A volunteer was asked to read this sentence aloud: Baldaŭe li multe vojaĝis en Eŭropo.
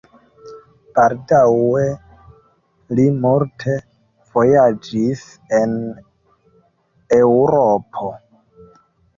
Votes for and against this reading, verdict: 0, 2, rejected